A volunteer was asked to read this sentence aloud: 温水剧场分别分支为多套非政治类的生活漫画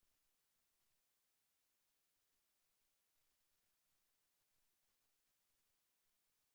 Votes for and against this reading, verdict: 0, 3, rejected